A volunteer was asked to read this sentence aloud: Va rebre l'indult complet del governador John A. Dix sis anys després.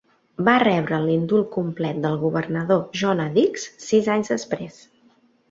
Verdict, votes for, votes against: accepted, 2, 0